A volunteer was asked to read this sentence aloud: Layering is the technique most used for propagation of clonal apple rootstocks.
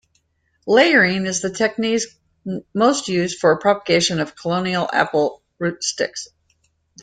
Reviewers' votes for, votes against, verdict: 0, 2, rejected